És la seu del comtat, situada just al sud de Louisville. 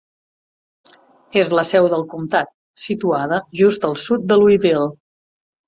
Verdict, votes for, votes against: accepted, 3, 0